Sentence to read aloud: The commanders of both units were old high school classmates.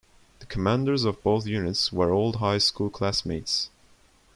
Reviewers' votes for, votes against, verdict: 2, 0, accepted